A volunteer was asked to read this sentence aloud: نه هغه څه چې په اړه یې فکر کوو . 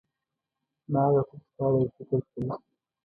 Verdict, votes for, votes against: rejected, 1, 2